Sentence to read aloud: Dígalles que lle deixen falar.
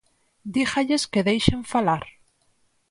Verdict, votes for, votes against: rejected, 0, 4